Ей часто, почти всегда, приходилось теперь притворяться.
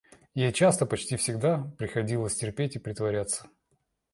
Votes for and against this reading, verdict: 0, 2, rejected